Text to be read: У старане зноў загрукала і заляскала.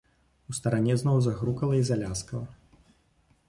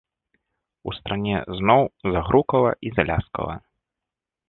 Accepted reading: first